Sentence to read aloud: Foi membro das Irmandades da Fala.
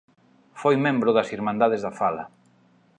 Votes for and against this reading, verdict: 2, 0, accepted